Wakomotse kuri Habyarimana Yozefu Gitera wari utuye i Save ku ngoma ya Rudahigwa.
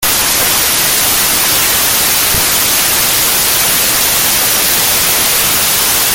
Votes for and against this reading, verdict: 0, 2, rejected